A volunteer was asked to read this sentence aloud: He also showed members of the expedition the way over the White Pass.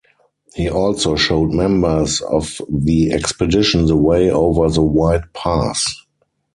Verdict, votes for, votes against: accepted, 4, 0